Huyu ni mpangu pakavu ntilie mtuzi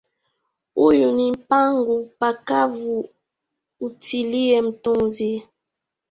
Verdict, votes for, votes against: accepted, 2, 1